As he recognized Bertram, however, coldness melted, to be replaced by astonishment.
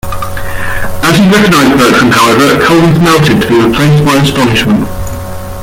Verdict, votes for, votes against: rejected, 1, 2